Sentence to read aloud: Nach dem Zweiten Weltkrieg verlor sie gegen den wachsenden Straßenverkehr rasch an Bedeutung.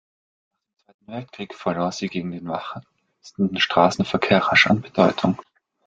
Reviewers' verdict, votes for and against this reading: rejected, 0, 2